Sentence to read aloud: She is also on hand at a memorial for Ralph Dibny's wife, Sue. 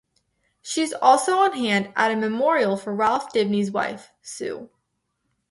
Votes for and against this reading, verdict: 2, 2, rejected